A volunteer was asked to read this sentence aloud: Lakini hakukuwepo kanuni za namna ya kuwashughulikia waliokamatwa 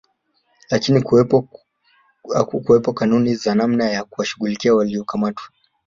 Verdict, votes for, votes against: rejected, 1, 2